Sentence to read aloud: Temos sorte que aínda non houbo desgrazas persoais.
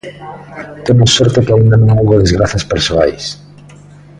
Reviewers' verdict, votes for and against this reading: accepted, 2, 0